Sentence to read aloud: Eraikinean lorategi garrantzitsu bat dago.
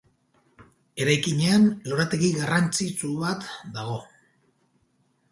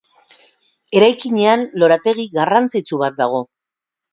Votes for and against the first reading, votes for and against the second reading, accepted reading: 0, 2, 6, 0, second